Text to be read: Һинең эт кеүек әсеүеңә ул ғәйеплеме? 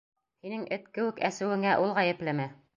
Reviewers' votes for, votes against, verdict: 2, 0, accepted